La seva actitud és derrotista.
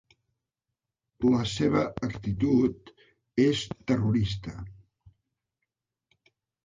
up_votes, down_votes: 0, 2